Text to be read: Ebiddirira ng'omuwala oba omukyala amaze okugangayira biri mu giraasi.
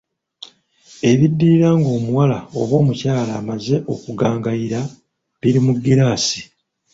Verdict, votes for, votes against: rejected, 0, 2